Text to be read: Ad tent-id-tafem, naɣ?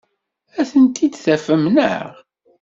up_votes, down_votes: 2, 0